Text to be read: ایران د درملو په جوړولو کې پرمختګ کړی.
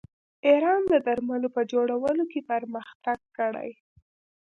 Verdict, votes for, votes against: accepted, 2, 0